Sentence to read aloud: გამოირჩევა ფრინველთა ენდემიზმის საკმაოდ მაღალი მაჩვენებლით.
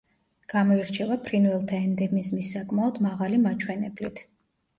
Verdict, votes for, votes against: accepted, 2, 0